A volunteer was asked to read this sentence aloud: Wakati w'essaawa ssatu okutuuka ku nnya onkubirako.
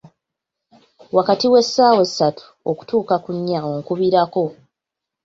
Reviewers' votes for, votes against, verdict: 2, 1, accepted